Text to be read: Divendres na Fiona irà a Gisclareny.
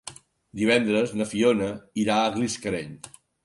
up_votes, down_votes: 1, 2